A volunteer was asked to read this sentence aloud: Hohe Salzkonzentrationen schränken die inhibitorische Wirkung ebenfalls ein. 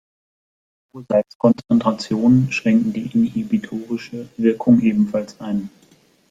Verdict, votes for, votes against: rejected, 0, 2